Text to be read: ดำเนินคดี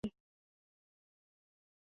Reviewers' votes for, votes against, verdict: 0, 2, rejected